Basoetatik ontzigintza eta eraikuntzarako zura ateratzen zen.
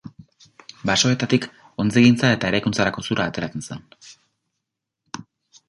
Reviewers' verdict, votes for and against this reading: rejected, 0, 2